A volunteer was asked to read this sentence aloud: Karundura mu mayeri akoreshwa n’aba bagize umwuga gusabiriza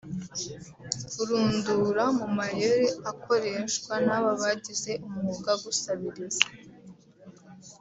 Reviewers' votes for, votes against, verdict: 1, 2, rejected